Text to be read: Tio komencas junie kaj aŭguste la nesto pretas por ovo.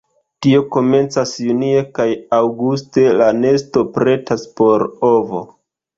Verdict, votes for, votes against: accepted, 2, 0